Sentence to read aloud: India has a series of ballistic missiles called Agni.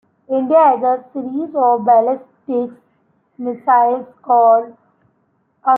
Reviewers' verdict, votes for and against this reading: rejected, 0, 2